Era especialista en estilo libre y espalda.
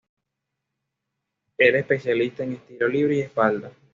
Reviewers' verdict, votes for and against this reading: accepted, 2, 0